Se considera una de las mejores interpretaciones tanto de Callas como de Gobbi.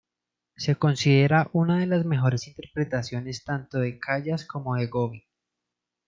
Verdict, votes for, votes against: rejected, 1, 2